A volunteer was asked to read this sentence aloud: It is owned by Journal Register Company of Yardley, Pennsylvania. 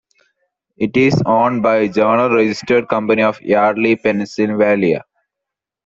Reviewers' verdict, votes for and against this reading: rejected, 0, 2